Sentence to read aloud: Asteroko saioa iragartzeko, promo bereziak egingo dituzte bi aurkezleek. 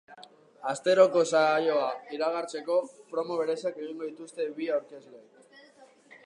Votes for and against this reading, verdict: 0, 2, rejected